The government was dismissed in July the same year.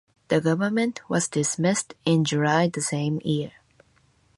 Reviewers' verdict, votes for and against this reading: rejected, 0, 2